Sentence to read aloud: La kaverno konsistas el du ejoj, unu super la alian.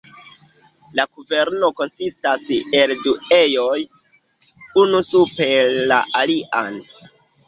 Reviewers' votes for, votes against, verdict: 2, 1, accepted